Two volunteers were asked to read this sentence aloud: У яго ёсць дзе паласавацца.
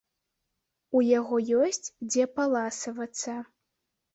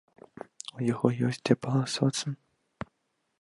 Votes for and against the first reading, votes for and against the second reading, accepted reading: 2, 0, 0, 2, first